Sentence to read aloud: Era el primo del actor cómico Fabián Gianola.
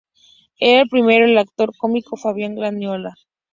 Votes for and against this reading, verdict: 0, 2, rejected